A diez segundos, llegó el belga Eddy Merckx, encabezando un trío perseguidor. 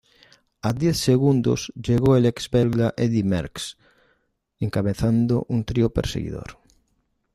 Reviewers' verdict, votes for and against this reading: rejected, 1, 2